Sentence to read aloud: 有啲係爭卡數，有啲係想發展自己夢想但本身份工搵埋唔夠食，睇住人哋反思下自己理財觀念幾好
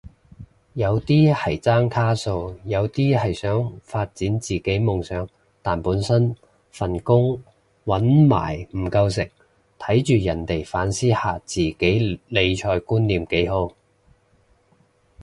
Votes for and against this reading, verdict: 2, 0, accepted